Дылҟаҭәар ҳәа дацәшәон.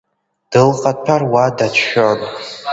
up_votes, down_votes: 2, 1